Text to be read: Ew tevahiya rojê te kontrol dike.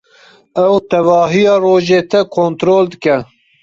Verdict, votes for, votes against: accepted, 2, 0